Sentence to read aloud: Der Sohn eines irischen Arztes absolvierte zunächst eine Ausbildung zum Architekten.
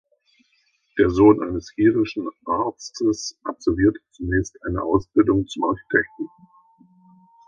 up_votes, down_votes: 0, 2